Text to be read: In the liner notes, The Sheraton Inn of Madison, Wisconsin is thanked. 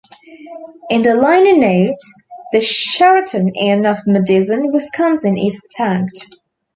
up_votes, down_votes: 0, 2